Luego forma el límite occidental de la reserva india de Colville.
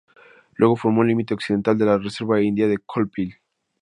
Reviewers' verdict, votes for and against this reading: rejected, 0, 2